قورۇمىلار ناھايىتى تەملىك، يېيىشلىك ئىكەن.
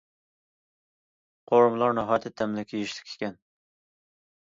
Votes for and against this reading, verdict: 2, 0, accepted